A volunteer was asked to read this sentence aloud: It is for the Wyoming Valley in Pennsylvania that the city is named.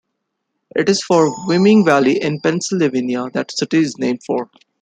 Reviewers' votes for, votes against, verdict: 2, 0, accepted